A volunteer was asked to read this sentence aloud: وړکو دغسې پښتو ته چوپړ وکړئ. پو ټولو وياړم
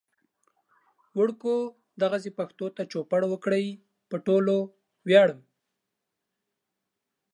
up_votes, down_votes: 2, 0